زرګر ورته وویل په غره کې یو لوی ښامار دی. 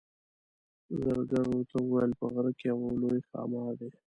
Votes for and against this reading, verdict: 0, 2, rejected